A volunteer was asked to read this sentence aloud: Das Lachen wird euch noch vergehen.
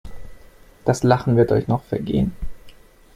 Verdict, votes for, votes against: accepted, 2, 0